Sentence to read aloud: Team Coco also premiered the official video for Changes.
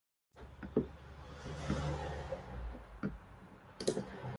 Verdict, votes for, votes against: rejected, 1, 2